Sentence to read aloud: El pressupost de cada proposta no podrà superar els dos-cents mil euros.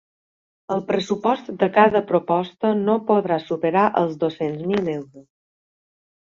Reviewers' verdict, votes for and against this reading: accepted, 6, 0